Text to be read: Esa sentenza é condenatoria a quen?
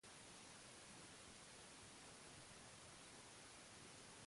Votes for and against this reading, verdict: 0, 3, rejected